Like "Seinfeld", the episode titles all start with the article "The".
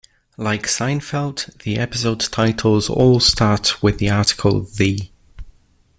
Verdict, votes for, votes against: accepted, 2, 0